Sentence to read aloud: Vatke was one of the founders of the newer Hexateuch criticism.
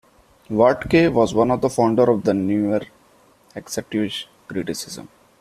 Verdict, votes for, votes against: rejected, 0, 2